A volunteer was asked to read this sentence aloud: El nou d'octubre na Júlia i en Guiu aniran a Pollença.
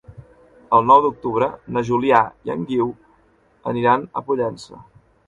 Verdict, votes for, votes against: rejected, 0, 2